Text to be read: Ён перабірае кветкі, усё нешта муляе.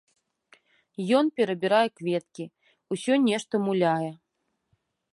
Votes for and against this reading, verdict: 2, 0, accepted